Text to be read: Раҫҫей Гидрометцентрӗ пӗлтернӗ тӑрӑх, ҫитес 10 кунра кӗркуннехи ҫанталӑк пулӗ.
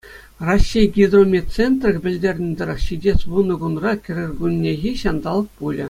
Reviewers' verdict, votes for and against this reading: rejected, 0, 2